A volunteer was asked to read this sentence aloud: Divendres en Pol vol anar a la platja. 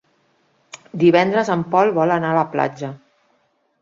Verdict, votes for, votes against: accepted, 3, 0